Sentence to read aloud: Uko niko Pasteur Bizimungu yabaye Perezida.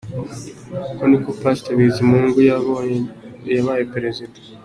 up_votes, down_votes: 1, 2